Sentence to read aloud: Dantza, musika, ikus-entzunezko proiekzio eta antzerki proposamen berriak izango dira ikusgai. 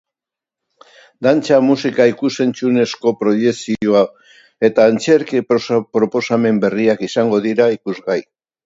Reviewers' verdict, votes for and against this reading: rejected, 0, 2